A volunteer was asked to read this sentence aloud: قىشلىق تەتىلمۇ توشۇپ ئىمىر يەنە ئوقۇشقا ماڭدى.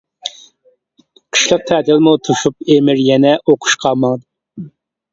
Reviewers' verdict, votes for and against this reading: rejected, 1, 2